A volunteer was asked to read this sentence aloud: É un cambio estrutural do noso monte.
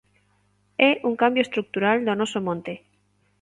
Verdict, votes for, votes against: accepted, 2, 1